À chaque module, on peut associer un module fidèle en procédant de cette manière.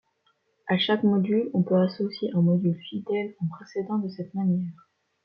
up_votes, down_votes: 2, 0